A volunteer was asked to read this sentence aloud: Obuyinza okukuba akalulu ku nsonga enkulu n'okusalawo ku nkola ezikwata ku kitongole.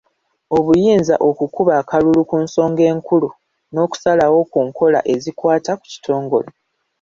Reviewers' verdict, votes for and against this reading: accepted, 2, 0